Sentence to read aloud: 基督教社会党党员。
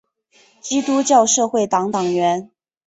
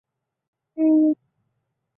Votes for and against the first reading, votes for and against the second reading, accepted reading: 2, 0, 2, 2, first